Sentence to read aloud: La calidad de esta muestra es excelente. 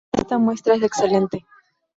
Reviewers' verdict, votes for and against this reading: rejected, 0, 2